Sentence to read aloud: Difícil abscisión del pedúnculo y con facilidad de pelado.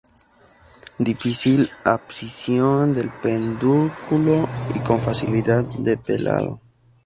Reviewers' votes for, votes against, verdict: 0, 2, rejected